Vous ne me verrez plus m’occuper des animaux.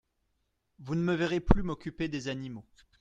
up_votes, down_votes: 2, 0